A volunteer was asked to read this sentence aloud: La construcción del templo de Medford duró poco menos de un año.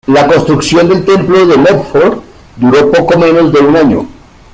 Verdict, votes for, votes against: accepted, 2, 1